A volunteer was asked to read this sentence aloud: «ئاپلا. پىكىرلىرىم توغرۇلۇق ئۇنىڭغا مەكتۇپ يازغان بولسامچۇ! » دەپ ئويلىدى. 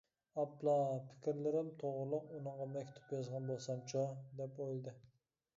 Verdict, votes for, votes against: accepted, 2, 0